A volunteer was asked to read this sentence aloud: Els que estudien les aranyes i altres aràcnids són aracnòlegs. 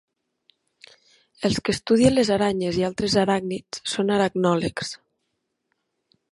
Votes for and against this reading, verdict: 1, 2, rejected